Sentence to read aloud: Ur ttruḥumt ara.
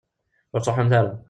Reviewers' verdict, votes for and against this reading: rejected, 1, 2